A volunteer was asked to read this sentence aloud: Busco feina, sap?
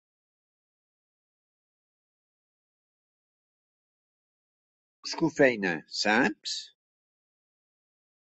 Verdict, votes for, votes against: rejected, 1, 2